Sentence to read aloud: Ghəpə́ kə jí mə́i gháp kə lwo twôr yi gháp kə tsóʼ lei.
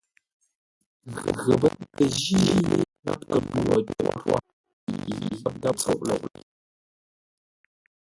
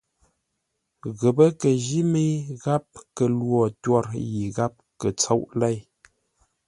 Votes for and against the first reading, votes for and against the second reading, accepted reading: 0, 2, 2, 0, second